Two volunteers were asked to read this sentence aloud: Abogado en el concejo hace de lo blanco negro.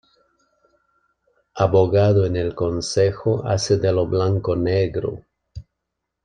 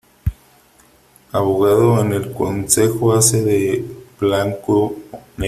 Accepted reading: first